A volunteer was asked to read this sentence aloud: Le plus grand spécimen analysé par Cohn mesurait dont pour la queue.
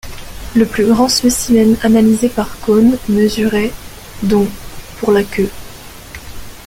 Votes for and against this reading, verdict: 0, 2, rejected